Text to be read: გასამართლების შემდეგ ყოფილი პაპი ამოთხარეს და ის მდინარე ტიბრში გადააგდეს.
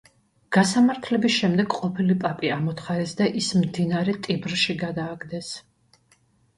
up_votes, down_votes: 2, 0